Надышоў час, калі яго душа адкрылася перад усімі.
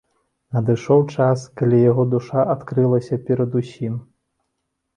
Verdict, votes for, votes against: rejected, 0, 2